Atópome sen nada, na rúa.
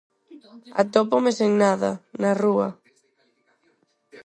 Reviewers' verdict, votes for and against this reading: accepted, 4, 2